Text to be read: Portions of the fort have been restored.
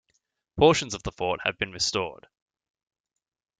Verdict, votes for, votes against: accepted, 2, 0